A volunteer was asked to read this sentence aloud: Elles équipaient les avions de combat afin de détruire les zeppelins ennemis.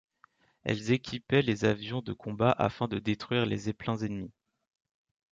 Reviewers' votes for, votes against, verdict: 2, 0, accepted